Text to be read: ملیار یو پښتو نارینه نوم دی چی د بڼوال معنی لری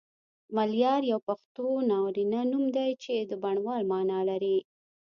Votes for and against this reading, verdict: 1, 2, rejected